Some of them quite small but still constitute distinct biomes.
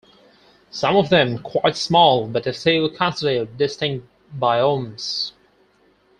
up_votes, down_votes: 0, 4